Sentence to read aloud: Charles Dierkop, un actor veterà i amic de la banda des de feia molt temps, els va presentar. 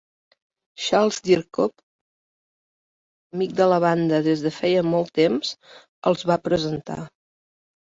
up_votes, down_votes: 1, 2